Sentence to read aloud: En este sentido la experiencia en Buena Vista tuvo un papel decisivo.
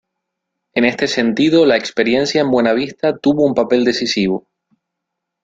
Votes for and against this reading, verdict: 2, 0, accepted